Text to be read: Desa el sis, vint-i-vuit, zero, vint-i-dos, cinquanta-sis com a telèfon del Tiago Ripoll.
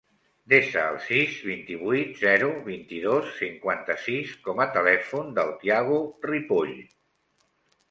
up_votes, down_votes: 1, 2